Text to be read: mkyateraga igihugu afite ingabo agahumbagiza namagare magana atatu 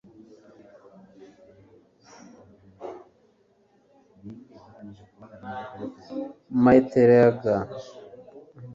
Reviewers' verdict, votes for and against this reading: rejected, 0, 2